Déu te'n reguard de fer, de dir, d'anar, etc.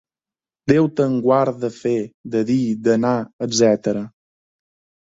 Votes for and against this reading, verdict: 2, 1, accepted